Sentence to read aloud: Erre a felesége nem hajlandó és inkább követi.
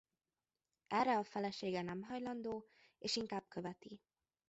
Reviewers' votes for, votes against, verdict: 1, 2, rejected